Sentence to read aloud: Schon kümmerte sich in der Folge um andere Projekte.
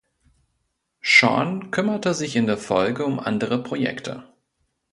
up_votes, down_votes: 0, 2